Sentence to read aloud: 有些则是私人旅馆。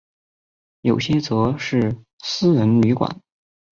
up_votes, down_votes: 2, 1